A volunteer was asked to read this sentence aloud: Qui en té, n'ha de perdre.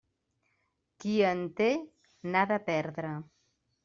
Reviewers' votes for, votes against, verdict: 3, 0, accepted